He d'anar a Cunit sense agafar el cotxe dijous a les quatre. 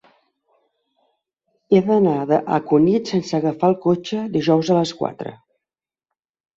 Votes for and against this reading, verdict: 2, 0, accepted